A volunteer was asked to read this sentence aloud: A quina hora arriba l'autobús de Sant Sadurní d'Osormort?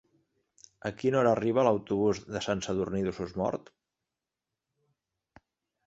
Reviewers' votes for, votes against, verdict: 0, 2, rejected